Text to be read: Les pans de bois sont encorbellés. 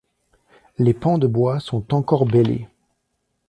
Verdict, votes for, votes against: accepted, 2, 0